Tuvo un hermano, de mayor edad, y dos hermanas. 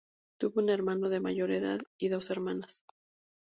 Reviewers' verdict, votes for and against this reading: accepted, 2, 0